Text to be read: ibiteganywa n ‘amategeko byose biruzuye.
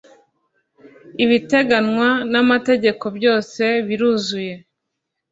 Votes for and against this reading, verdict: 3, 0, accepted